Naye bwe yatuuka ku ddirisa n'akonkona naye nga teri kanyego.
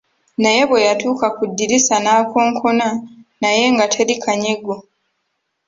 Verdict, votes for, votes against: accepted, 3, 0